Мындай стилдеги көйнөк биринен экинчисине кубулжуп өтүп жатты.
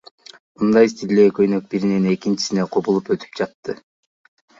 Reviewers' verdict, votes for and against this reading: rejected, 0, 2